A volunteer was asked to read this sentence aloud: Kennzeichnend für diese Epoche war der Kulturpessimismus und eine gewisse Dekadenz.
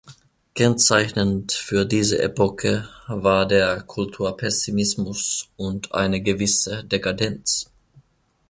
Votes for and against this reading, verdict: 0, 2, rejected